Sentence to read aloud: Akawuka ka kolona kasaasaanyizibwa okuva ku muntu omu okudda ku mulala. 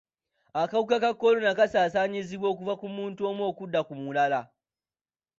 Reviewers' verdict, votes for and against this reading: accepted, 2, 0